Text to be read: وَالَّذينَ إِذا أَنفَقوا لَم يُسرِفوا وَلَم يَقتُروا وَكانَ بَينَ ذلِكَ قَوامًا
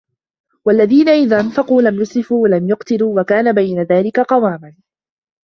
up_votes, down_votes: 1, 2